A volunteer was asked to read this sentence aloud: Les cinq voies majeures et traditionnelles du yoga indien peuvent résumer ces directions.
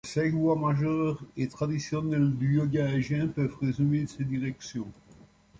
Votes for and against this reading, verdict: 0, 2, rejected